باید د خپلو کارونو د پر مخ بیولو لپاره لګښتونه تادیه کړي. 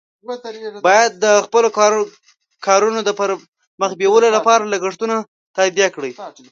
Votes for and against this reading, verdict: 1, 2, rejected